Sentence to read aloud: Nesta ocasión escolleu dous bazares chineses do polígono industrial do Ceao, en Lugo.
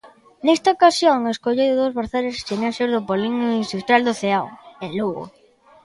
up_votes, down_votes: 1, 2